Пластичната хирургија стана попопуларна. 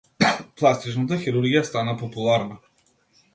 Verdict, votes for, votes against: rejected, 0, 2